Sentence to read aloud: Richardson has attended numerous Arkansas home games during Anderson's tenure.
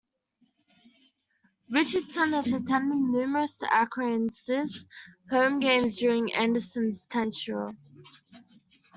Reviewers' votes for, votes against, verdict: 0, 2, rejected